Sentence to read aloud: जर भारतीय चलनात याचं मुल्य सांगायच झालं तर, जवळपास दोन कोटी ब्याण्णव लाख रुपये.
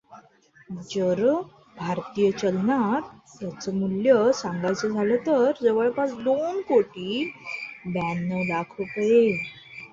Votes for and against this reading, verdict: 1, 2, rejected